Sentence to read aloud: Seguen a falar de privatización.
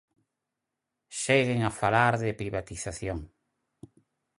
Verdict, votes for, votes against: accepted, 4, 0